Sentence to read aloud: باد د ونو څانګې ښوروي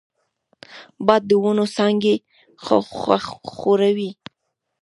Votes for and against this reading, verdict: 2, 0, accepted